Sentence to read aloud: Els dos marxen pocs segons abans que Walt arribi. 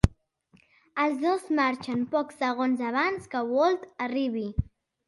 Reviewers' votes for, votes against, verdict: 4, 0, accepted